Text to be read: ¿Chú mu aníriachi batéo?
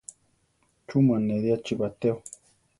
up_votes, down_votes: 0, 4